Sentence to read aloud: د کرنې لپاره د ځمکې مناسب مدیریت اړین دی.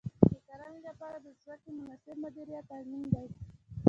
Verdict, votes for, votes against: rejected, 0, 2